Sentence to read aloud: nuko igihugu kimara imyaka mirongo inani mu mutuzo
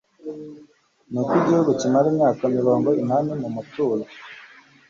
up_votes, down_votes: 2, 0